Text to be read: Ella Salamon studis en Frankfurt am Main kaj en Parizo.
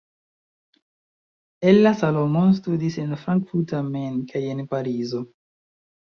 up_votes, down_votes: 1, 2